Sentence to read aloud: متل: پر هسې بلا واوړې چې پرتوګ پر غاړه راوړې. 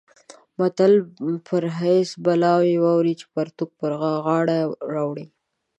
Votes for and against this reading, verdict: 1, 3, rejected